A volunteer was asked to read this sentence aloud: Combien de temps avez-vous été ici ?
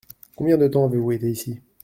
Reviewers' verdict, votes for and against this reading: accepted, 2, 0